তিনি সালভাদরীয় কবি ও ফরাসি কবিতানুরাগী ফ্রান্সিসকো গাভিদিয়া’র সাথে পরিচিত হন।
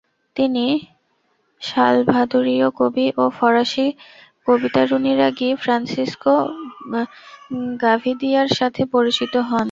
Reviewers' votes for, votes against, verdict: 0, 2, rejected